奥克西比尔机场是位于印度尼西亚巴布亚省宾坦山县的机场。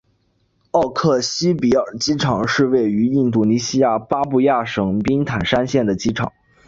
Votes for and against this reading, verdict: 2, 0, accepted